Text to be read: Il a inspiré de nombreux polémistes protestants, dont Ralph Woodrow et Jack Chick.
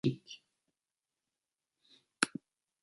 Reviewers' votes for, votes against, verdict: 0, 2, rejected